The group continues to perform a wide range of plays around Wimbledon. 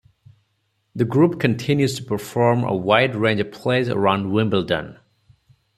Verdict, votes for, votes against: accepted, 4, 0